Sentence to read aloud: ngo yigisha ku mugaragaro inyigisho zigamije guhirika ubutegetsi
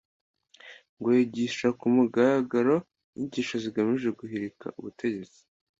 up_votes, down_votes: 2, 0